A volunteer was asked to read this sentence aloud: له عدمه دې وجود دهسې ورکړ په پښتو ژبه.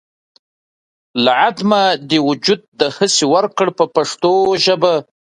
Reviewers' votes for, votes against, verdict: 3, 0, accepted